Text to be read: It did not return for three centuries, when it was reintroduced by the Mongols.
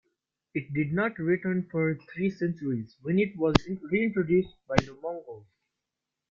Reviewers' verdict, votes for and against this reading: accepted, 2, 0